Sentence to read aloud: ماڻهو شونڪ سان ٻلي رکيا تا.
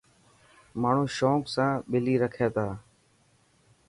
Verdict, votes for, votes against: accepted, 2, 0